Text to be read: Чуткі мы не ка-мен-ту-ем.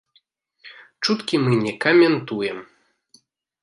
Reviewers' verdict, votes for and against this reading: accepted, 2, 0